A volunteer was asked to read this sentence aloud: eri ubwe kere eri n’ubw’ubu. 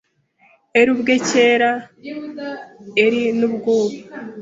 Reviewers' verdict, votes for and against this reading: rejected, 0, 2